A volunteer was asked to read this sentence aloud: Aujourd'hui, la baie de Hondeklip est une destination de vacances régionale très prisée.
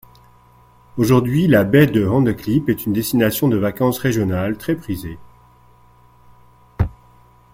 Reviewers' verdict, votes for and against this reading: accepted, 2, 0